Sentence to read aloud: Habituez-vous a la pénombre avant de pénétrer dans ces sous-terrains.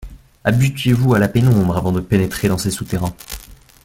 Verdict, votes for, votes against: rejected, 0, 2